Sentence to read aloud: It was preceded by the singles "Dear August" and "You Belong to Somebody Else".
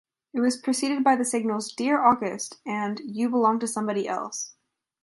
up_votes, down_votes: 0, 2